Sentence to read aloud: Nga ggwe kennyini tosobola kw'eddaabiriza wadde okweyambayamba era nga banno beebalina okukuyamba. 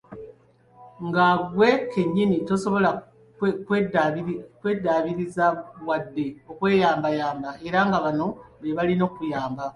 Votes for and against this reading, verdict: 0, 2, rejected